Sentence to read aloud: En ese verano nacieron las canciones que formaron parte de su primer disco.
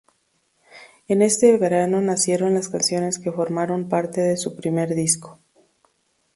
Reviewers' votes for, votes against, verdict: 2, 0, accepted